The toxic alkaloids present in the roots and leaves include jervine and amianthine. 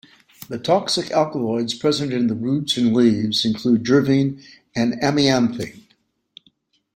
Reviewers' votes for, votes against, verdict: 2, 0, accepted